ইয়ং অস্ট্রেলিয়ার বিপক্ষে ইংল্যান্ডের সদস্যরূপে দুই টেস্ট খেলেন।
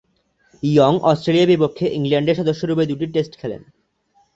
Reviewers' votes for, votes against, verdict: 0, 2, rejected